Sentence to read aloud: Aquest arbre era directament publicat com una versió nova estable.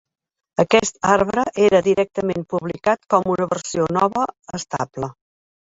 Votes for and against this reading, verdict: 0, 2, rejected